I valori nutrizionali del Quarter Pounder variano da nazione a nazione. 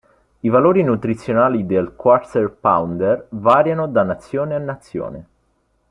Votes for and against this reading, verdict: 2, 0, accepted